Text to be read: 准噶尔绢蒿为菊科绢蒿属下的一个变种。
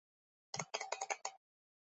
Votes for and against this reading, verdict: 0, 3, rejected